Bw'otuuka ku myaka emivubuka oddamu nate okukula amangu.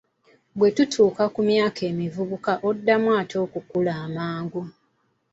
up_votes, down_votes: 2, 0